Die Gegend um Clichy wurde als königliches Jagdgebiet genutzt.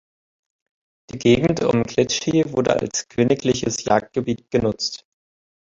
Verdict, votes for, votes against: rejected, 1, 3